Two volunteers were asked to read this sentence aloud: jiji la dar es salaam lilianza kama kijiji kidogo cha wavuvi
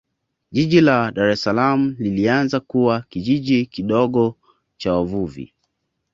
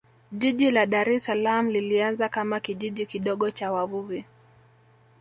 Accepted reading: first